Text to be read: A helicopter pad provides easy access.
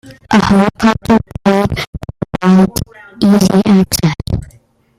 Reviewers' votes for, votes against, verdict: 1, 2, rejected